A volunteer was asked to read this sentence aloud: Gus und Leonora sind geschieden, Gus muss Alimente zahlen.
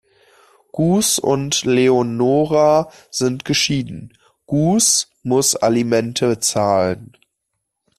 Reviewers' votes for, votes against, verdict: 2, 1, accepted